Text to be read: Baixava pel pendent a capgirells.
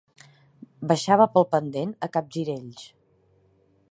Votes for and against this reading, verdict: 3, 0, accepted